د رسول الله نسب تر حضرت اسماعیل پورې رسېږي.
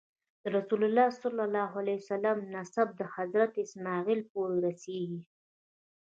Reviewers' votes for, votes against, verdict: 2, 0, accepted